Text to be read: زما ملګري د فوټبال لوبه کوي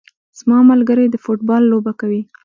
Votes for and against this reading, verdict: 1, 2, rejected